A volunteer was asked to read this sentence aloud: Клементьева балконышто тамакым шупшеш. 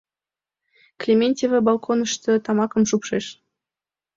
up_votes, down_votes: 2, 0